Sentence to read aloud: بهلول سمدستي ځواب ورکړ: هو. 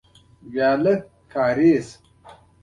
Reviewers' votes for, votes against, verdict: 2, 1, accepted